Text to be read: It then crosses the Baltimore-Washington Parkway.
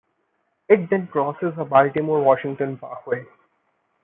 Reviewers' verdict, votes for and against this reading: accepted, 2, 1